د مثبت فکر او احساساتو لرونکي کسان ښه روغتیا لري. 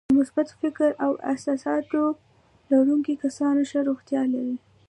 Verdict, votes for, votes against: accepted, 2, 1